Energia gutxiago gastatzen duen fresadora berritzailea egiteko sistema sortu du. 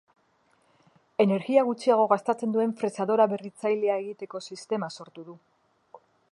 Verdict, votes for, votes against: accepted, 3, 2